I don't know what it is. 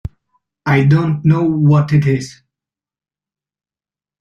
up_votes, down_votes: 2, 0